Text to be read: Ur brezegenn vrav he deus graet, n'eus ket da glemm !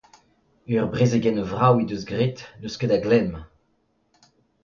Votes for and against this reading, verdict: 2, 0, accepted